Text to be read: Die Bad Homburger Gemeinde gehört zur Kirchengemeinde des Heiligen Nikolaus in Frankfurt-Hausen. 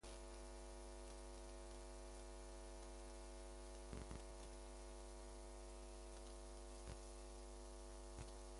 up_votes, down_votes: 0, 2